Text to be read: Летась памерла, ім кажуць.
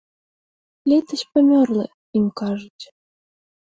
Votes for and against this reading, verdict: 1, 2, rejected